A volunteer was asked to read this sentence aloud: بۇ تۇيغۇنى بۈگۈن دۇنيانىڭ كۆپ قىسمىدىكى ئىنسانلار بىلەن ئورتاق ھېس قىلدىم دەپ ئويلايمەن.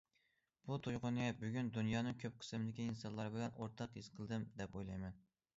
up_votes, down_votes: 2, 0